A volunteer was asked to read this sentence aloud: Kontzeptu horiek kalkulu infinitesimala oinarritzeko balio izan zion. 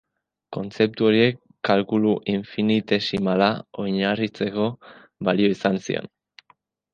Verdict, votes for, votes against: accepted, 5, 0